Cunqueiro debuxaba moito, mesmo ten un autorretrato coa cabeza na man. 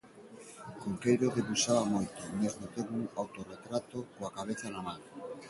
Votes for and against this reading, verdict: 2, 0, accepted